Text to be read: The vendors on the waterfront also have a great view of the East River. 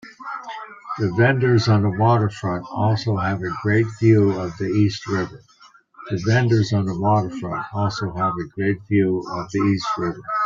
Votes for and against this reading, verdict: 1, 2, rejected